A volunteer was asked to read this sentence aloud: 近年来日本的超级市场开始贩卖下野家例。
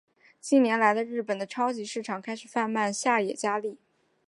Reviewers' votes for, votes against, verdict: 2, 0, accepted